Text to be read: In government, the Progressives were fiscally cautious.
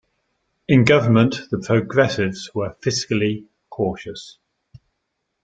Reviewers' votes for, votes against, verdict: 3, 0, accepted